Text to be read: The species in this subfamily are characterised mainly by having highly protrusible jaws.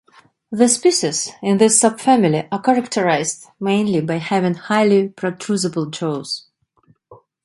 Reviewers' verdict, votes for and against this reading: accepted, 2, 1